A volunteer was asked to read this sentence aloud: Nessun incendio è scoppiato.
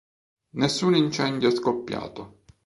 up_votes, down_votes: 0, 2